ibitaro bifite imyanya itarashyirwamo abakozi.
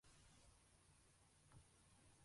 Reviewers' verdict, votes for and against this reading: rejected, 0, 2